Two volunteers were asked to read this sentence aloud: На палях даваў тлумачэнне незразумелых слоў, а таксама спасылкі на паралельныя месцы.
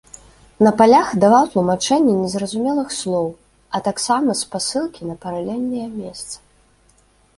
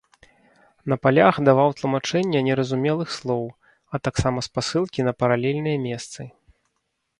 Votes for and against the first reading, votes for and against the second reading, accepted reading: 2, 0, 1, 2, first